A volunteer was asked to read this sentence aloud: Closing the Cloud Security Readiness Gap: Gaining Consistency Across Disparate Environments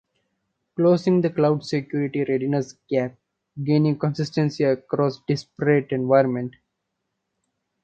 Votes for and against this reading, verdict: 1, 2, rejected